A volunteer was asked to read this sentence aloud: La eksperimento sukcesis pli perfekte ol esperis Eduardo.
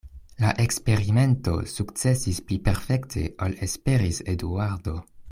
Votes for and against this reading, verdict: 1, 2, rejected